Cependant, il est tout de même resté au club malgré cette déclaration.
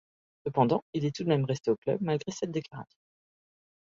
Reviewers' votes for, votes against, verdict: 1, 2, rejected